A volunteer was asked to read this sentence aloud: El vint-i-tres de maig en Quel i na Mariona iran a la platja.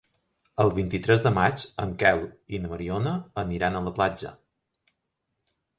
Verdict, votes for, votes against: rejected, 0, 3